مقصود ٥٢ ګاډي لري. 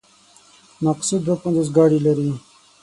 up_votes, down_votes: 0, 2